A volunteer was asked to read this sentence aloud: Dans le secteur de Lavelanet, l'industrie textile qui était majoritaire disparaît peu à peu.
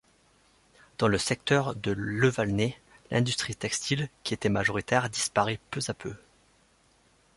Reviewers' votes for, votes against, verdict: 1, 2, rejected